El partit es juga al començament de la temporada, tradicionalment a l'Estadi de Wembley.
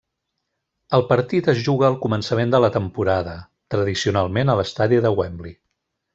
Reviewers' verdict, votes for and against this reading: accepted, 3, 0